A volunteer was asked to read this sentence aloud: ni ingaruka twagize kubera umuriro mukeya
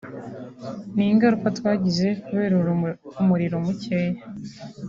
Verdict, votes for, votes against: rejected, 2, 3